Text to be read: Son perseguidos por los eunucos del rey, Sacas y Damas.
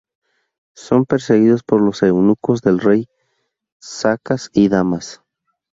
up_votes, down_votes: 2, 0